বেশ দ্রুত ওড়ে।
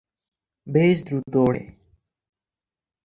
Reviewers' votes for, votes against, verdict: 12, 8, accepted